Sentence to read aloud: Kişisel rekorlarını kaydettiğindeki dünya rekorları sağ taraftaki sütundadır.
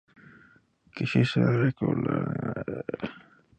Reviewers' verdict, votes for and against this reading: rejected, 0, 2